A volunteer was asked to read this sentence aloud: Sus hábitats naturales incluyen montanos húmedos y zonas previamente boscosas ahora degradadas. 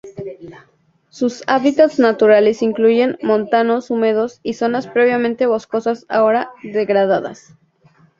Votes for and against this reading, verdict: 2, 0, accepted